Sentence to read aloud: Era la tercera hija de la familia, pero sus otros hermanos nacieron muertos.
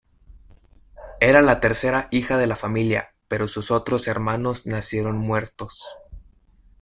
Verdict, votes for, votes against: accepted, 2, 0